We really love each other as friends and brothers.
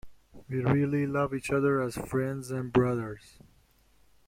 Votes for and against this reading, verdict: 0, 2, rejected